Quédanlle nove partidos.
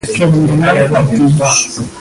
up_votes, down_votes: 1, 2